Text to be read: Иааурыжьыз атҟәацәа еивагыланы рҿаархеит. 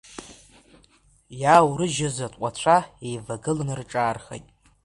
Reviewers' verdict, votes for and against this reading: accepted, 2, 1